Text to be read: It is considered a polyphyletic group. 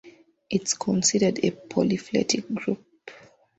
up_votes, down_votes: 0, 2